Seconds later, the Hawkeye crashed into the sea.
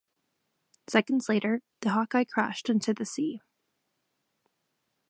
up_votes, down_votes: 2, 0